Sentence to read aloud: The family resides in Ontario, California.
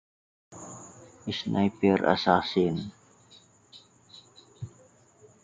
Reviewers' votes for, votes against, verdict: 0, 2, rejected